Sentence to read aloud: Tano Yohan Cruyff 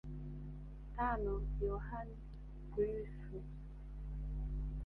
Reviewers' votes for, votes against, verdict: 1, 2, rejected